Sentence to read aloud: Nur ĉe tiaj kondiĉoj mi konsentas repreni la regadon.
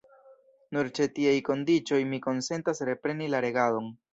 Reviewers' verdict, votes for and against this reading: rejected, 0, 2